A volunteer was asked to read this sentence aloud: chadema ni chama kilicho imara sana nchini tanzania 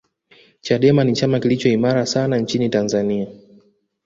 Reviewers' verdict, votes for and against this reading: accepted, 2, 0